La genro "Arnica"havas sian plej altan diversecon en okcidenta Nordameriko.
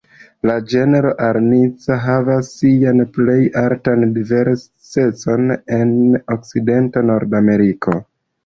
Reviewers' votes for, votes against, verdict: 2, 1, accepted